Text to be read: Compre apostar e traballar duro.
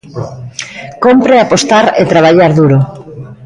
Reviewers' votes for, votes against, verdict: 2, 0, accepted